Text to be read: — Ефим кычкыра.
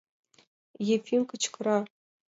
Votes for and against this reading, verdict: 2, 0, accepted